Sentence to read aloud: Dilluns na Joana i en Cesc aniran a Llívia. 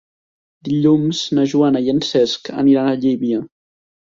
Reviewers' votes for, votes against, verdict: 0, 2, rejected